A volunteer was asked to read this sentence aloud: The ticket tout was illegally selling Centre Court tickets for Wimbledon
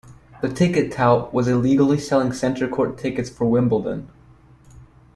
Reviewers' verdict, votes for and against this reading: accepted, 2, 0